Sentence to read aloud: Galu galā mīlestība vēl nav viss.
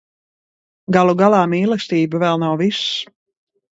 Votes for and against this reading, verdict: 2, 0, accepted